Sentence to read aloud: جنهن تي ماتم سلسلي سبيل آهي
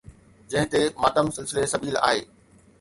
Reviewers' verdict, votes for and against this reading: accepted, 2, 1